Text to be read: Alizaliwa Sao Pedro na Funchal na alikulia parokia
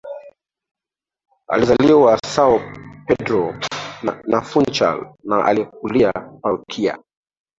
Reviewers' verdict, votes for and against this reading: rejected, 1, 3